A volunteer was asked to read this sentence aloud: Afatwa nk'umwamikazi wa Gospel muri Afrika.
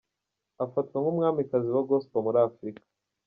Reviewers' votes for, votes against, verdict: 2, 0, accepted